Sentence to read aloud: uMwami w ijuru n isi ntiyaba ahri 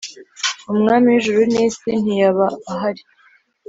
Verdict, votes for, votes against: accepted, 3, 0